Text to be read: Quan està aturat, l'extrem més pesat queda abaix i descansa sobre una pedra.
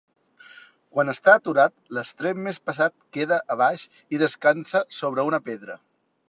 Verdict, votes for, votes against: accepted, 2, 0